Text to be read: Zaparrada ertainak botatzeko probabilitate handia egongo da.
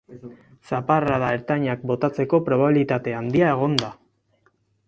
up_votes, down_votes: 0, 4